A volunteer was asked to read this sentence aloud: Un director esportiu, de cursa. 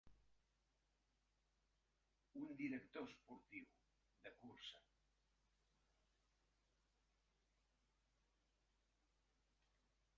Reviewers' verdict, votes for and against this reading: rejected, 1, 2